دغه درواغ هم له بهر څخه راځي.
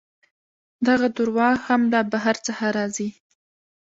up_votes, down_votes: 1, 2